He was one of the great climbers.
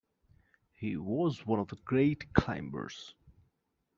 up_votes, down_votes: 2, 0